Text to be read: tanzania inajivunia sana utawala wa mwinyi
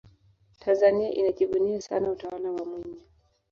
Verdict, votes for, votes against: rejected, 1, 2